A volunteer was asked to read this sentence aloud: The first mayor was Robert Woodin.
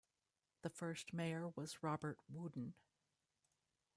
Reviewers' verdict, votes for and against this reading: rejected, 1, 2